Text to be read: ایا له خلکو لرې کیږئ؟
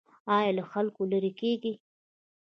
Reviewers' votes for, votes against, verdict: 1, 2, rejected